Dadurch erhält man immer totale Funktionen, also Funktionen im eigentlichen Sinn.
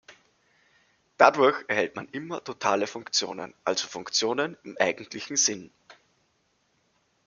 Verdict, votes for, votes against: accepted, 2, 1